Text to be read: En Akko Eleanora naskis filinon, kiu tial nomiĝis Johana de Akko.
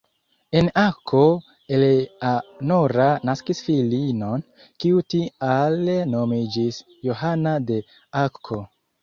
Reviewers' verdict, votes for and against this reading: rejected, 0, 2